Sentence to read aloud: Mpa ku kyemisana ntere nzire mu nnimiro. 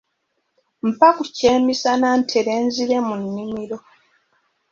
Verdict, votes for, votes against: accepted, 2, 0